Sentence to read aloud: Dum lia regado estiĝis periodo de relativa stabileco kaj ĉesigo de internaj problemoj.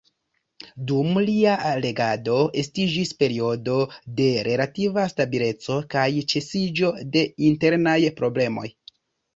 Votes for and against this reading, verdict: 0, 2, rejected